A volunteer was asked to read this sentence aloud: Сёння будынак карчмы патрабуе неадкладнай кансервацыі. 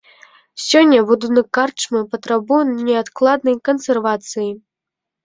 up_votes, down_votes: 0, 2